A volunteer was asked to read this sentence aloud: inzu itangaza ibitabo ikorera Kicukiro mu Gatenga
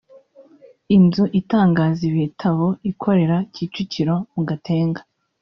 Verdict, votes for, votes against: accepted, 2, 0